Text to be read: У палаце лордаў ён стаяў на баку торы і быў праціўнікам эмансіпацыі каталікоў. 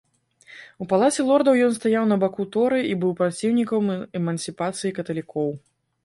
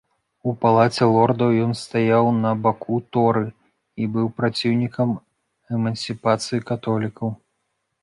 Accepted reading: first